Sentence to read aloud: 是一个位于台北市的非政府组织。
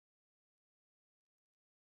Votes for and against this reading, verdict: 0, 3, rejected